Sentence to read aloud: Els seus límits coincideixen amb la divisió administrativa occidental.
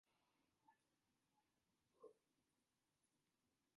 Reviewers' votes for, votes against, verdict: 0, 2, rejected